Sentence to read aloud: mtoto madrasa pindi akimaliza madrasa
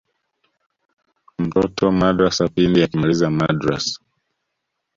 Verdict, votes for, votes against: accepted, 2, 0